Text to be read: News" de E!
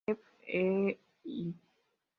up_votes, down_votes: 1, 5